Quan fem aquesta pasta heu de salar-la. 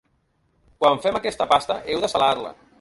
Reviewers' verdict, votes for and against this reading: accepted, 3, 0